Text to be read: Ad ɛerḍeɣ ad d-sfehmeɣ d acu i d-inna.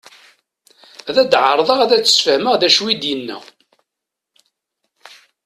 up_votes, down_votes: 0, 2